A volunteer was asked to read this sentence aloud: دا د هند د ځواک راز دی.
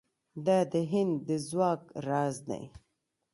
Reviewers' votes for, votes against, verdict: 1, 2, rejected